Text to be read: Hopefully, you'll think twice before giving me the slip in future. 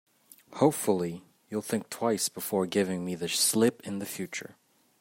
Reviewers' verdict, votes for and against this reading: accepted, 2, 0